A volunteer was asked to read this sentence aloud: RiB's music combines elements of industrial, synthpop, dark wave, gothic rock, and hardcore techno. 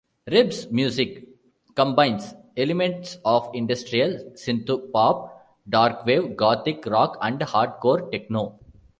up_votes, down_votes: 1, 2